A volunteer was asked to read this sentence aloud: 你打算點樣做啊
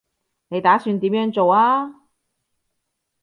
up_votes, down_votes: 2, 0